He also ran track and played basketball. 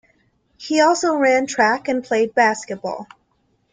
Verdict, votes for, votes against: accepted, 2, 0